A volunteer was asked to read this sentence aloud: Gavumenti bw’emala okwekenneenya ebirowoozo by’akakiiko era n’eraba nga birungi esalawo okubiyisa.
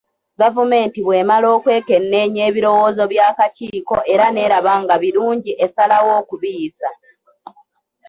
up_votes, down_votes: 1, 2